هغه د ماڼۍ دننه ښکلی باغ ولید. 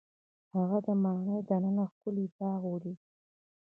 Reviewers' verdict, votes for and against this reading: rejected, 1, 2